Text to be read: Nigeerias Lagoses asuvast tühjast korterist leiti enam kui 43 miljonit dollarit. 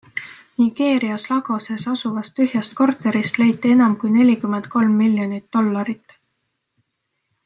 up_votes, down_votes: 0, 2